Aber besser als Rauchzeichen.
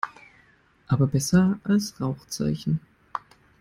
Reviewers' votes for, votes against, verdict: 2, 0, accepted